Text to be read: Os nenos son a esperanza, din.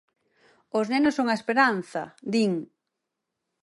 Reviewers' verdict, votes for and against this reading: accepted, 4, 0